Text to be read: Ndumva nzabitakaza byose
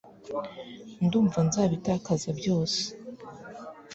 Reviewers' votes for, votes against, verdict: 2, 0, accepted